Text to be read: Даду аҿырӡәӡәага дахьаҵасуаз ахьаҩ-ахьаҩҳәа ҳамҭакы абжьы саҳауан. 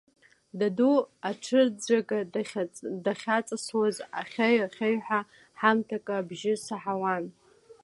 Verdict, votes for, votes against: accepted, 2, 0